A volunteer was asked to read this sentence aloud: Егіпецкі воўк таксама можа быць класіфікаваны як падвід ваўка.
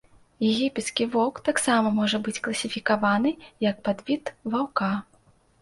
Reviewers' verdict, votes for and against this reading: accepted, 2, 0